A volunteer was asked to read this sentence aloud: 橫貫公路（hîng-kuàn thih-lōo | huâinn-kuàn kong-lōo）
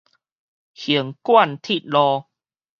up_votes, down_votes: 2, 2